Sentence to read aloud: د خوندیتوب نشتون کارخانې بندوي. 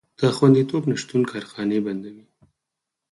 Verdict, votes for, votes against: rejected, 2, 4